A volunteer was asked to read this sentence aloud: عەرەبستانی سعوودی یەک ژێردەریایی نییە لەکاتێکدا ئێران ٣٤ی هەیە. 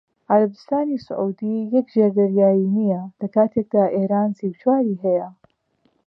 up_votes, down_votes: 0, 2